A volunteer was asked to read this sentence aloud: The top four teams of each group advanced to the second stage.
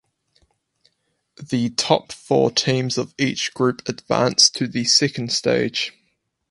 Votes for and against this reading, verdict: 4, 0, accepted